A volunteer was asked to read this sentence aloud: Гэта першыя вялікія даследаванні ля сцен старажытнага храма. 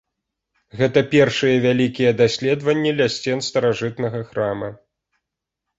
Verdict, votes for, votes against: accepted, 2, 0